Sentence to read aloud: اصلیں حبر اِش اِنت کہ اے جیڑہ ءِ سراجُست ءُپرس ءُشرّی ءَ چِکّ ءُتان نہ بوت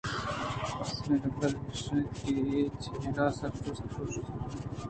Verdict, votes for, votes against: rejected, 1, 2